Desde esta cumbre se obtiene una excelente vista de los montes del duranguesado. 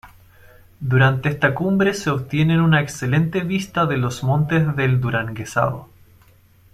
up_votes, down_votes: 1, 2